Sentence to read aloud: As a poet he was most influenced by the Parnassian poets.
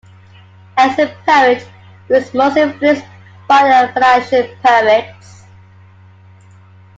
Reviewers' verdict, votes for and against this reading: accepted, 2, 0